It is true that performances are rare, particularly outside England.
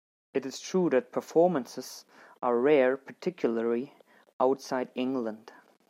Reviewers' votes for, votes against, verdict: 2, 0, accepted